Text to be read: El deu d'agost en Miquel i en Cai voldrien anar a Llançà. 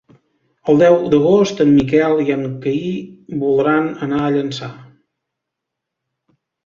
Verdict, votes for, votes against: rejected, 1, 2